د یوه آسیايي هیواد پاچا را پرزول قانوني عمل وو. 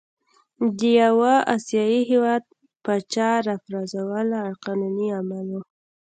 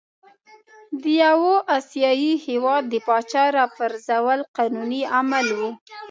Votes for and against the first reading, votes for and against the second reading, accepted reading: 2, 0, 0, 2, first